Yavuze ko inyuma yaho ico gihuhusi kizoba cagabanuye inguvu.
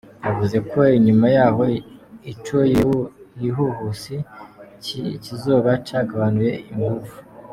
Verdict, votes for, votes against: rejected, 0, 2